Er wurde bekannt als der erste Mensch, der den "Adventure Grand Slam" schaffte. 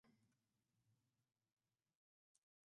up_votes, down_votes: 0, 2